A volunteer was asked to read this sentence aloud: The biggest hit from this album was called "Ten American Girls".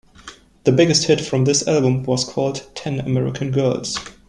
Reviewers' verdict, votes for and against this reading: accepted, 2, 0